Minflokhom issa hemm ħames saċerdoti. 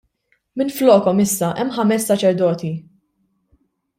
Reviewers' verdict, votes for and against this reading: rejected, 1, 2